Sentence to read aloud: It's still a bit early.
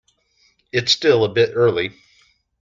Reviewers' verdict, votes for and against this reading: accepted, 2, 0